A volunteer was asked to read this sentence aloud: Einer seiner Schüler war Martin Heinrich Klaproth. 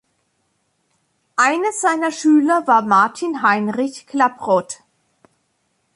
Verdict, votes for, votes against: accepted, 2, 0